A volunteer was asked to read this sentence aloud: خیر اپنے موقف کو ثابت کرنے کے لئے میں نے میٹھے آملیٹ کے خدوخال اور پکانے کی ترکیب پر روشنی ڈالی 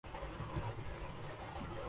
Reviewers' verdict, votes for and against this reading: rejected, 1, 5